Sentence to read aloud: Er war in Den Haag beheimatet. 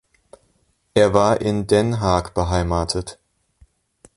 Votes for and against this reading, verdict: 1, 2, rejected